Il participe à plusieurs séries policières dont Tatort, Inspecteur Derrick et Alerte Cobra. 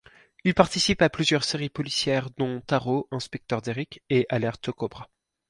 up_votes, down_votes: 2, 4